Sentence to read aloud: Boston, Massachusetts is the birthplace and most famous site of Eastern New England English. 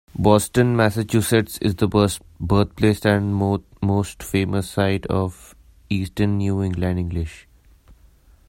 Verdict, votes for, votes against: rejected, 1, 2